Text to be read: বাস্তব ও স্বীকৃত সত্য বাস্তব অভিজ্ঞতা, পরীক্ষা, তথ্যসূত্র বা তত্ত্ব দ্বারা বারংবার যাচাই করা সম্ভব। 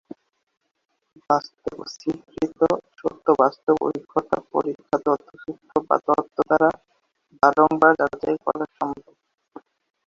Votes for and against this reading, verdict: 2, 6, rejected